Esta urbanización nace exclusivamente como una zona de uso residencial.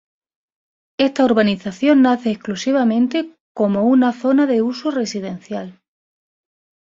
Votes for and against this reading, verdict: 2, 0, accepted